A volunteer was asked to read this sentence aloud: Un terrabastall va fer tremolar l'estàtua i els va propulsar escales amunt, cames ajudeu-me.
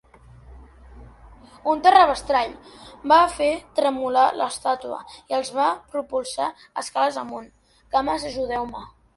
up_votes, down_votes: 0, 7